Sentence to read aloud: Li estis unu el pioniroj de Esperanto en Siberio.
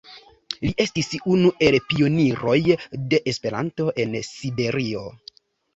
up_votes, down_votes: 2, 0